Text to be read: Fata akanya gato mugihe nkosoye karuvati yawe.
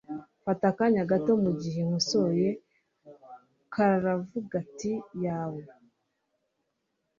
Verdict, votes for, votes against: rejected, 1, 2